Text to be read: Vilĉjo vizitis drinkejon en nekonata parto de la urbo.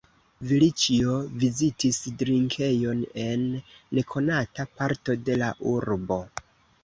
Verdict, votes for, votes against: accepted, 2, 1